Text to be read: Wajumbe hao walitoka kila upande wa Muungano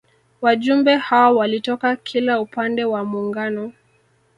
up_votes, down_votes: 0, 2